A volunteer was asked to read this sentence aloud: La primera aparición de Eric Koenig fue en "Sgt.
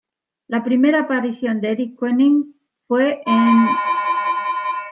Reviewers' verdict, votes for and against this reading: rejected, 1, 2